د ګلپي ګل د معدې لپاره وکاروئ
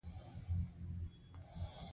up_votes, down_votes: 1, 2